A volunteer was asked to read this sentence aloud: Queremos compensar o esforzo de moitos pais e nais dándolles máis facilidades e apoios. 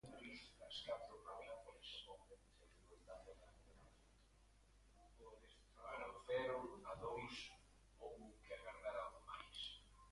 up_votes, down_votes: 0, 2